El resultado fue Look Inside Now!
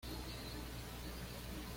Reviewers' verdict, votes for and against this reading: rejected, 1, 2